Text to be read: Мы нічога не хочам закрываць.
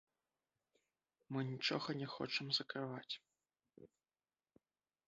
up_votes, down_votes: 2, 3